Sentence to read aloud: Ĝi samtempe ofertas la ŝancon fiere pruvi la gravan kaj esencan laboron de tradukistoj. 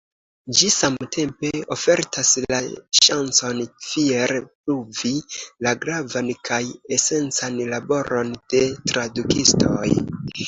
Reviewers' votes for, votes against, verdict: 2, 0, accepted